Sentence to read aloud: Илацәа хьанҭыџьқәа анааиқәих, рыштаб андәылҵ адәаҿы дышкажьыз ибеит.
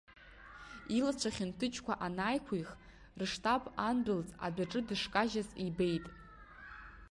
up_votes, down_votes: 0, 2